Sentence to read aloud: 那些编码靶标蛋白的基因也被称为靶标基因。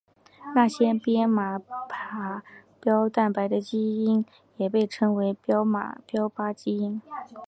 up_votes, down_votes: 2, 1